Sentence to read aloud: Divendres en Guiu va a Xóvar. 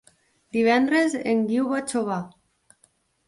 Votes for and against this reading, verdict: 2, 0, accepted